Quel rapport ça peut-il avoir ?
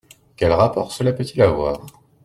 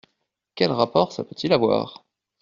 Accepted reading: second